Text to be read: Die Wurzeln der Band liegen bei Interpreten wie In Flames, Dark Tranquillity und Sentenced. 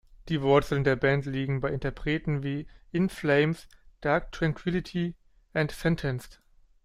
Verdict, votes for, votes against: rejected, 0, 2